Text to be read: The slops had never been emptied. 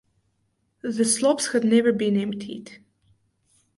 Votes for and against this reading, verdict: 2, 2, rejected